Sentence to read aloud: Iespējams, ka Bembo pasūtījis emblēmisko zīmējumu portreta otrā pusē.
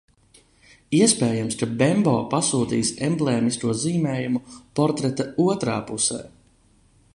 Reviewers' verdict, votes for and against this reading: accepted, 2, 0